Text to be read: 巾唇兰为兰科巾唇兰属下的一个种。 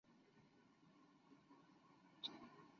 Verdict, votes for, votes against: rejected, 0, 2